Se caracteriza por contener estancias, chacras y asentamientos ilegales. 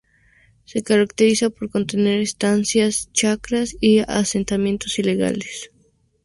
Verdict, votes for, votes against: accepted, 2, 0